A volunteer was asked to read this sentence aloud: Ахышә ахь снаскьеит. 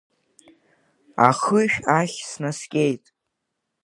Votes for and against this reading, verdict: 7, 1, accepted